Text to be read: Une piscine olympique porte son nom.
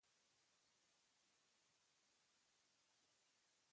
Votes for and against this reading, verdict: 1, 2, rejected